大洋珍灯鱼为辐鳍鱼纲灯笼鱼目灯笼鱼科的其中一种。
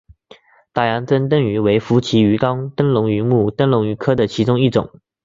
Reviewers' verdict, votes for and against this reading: accepted, 2, 0